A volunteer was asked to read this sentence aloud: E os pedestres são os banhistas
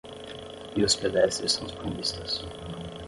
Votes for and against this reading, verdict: 5, 0, accepted